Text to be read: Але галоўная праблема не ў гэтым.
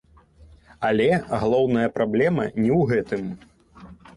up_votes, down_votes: 1, 2